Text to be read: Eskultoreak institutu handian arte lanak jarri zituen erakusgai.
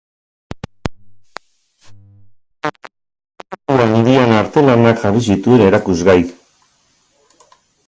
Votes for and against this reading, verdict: 0, 2, rejected